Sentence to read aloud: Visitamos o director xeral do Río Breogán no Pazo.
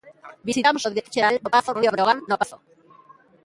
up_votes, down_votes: 1, 2